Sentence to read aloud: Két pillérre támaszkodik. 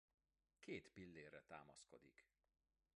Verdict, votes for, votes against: accepted, 2, 1